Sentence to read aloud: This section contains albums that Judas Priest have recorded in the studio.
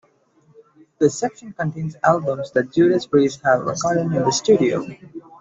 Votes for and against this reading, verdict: 2, 1, accepted